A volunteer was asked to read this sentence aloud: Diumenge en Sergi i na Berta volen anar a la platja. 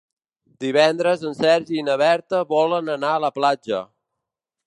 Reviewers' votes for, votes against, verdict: 0, 2, rejected